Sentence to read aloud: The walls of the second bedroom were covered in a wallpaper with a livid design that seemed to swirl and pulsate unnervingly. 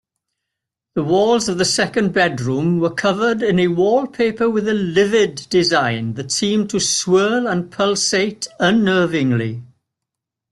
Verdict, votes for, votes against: accepted, 2, 0